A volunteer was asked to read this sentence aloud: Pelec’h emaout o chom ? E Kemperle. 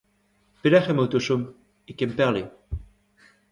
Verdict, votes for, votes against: rejected, 1, 2